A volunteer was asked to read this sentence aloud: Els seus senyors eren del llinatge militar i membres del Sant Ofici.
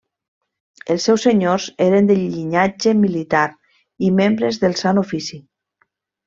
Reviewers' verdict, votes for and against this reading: rejected, 1, 2